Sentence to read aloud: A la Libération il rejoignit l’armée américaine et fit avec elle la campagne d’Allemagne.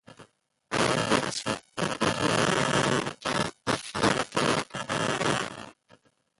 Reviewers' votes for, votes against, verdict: 0, 2, rejected